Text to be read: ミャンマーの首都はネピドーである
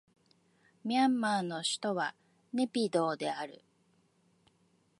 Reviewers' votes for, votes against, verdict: 2, 0, accepted